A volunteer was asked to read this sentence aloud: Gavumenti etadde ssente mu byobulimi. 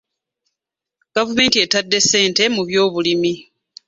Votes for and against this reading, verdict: 2, 1, accepted